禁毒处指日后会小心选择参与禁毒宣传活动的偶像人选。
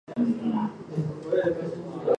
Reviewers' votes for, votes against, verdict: 0, 3, rejected